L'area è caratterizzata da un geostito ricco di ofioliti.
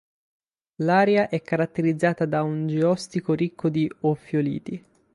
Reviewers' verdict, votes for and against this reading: rejected, 0, 6